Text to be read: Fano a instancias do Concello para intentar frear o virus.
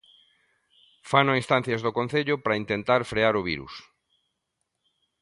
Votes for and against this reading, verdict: 2, 0, accepted